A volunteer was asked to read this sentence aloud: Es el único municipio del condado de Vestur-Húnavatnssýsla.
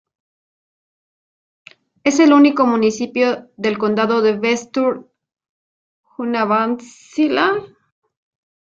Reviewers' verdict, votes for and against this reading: rejected, 1, 2